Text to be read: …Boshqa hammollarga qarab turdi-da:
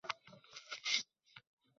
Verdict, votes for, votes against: rejected, 0, 2